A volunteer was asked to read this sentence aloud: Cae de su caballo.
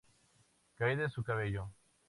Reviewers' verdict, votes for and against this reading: rejected, 0, 2